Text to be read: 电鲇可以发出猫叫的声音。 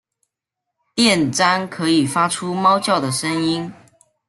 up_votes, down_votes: 0, 2